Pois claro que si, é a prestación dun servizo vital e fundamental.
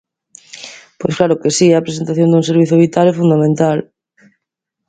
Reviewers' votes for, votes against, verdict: 0, 2, rejected